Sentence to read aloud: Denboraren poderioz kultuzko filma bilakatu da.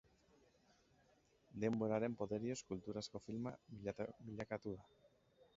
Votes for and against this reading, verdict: 0, 2, rejected